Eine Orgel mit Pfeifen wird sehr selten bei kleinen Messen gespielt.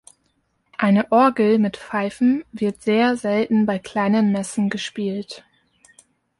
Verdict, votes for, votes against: accepted, 2, 0